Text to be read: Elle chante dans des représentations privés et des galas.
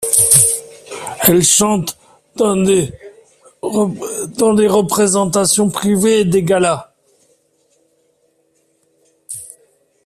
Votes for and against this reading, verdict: 0, 2, rejected